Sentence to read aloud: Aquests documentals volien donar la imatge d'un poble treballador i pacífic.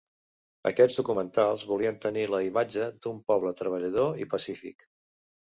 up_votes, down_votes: 0, 2